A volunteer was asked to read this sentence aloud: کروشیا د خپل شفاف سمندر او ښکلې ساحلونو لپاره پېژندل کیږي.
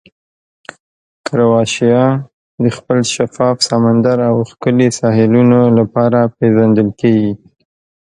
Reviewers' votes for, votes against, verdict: 1, 2, rejected